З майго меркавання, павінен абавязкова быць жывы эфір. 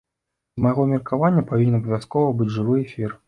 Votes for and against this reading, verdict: 1, 2, rejected